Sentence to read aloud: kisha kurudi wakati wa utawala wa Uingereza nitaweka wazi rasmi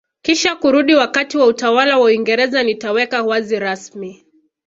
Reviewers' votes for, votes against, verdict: 2, 0, accepted